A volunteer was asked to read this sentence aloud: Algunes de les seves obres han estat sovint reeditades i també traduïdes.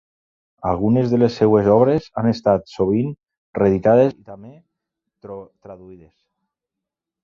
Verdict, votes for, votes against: rejected, 0, 3